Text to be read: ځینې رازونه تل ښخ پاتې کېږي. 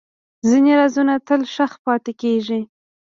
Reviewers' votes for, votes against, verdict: 0, 2, rejected